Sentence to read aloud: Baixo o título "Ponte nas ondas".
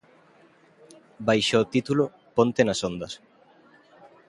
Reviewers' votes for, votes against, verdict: 2, 0, accepted